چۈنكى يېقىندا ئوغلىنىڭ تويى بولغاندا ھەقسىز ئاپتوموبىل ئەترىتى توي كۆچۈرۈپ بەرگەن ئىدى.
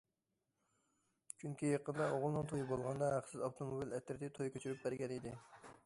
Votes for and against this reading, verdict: 2, 0, accepted